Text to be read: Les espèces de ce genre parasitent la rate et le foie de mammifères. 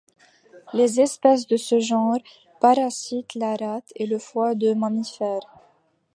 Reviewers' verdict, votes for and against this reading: accepted, 3, 0